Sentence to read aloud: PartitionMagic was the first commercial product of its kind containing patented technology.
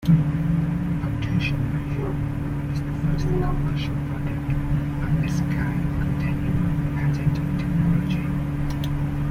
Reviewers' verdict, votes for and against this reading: rejected, 1, 3